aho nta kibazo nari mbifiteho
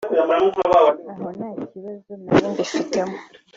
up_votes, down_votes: 3, 0